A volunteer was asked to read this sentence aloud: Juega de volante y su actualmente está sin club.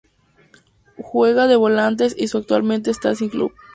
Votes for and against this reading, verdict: 0, 2, rejected